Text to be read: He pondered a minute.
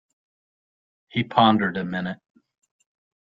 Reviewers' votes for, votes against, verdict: 2, 0, accepted